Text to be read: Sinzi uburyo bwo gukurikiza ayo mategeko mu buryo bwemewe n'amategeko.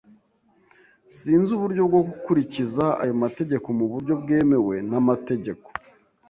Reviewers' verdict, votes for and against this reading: accepted, 2, 0